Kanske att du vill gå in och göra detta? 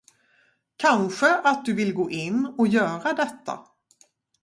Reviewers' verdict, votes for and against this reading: rejected, 2, 2